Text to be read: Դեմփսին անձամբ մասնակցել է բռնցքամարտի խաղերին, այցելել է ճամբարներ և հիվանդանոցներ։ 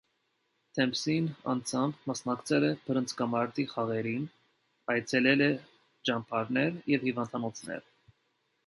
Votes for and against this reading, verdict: 2, 0, accepted